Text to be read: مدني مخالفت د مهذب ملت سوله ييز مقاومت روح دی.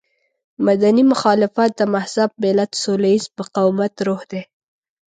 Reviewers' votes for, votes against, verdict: 2, 0, accepted